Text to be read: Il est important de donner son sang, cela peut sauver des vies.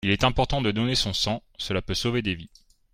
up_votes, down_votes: 2, 0